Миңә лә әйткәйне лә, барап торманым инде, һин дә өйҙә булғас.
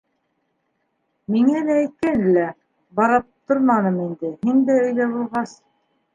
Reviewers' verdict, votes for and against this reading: rejected, 0, 2